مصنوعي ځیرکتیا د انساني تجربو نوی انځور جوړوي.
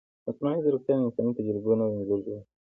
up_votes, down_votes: 1, 2